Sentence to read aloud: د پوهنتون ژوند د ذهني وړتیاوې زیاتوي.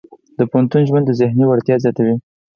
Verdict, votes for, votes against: accepted, 4, 0